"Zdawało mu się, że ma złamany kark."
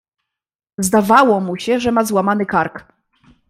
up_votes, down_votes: 2, 0